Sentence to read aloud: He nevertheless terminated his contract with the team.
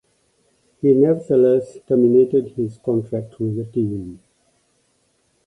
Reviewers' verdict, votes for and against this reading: rejected, 1, 2